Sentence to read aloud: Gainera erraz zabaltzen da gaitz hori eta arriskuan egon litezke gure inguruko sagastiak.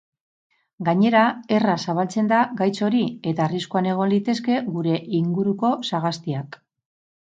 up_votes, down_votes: 0, 4